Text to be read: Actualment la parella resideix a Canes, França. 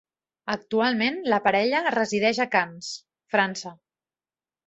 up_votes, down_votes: 2, 0